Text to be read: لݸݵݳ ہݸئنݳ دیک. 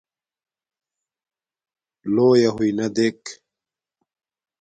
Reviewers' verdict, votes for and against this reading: accepted, 2, 0